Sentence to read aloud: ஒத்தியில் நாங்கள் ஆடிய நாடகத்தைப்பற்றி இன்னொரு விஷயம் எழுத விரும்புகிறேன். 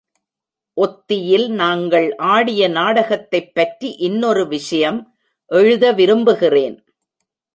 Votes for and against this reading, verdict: 2, 0, accepted